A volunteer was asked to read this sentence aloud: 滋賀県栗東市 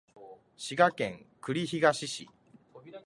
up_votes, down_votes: 2, 0